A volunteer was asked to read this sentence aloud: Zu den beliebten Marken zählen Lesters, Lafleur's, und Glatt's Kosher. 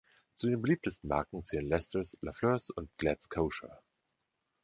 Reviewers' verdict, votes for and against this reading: rejected, 1, 2